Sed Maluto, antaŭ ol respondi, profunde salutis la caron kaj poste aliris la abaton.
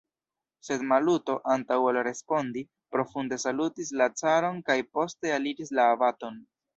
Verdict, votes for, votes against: rejected, 1, 2